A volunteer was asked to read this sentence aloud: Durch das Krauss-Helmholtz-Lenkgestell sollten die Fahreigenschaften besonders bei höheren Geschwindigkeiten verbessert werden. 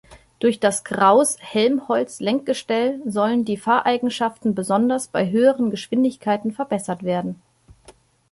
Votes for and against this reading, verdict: 0, 2, rejected